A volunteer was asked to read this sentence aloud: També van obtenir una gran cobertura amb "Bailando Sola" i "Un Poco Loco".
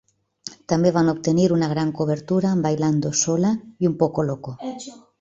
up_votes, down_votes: 1, 2